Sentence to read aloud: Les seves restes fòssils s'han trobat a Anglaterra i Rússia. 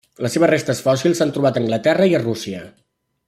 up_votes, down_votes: 0, 2